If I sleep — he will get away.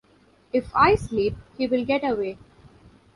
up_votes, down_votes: 2, 0